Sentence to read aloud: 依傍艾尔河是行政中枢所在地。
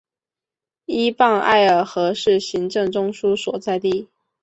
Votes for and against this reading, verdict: 2, 0, accepted